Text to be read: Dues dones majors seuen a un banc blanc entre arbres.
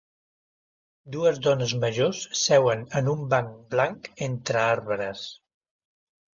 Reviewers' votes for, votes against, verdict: 1, 2, rejected